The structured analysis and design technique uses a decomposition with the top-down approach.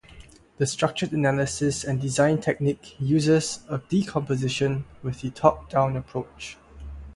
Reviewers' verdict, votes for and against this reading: rejected, 0, 3